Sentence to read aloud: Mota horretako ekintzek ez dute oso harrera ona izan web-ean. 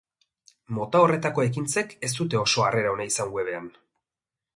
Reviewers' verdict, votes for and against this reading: accepted, 2, 0